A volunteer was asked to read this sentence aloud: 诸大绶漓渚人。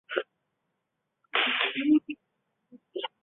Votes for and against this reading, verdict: 0, 2, rejected